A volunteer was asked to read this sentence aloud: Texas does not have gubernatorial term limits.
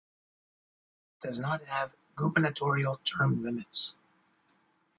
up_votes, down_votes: 0, 2